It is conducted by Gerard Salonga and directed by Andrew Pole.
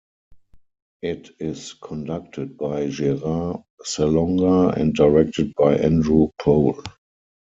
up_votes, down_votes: 4, 0